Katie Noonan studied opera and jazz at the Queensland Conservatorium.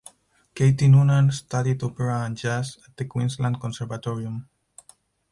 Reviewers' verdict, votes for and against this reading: accepted, 4, 0